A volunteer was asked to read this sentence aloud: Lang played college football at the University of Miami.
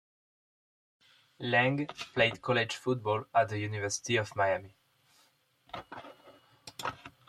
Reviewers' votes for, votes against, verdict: 2, 0, accepted